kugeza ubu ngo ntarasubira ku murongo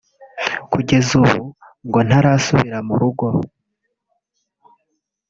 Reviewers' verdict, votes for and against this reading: rejected, 0, 3